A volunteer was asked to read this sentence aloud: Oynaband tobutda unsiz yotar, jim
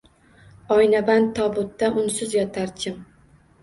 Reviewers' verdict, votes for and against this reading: accepted, 2, 1